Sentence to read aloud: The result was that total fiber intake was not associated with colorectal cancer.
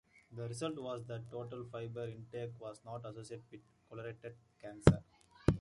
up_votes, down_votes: 1, 2